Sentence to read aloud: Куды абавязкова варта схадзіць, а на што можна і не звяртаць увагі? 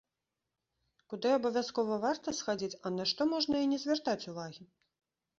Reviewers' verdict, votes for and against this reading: accepted, 2, 0